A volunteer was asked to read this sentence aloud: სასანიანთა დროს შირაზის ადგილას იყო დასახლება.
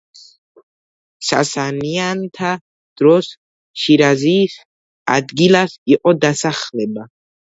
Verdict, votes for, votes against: accepted, 2, 1